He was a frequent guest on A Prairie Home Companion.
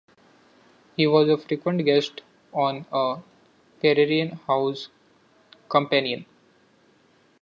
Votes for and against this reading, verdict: 0, 2, rejected